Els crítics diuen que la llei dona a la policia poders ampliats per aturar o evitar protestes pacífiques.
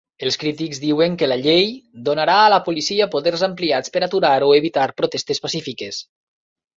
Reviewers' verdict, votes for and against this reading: rejected, 1, 2